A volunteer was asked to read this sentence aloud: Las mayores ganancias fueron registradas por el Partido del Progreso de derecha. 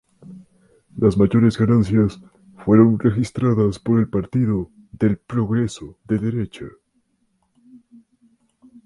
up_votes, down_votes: 2, 0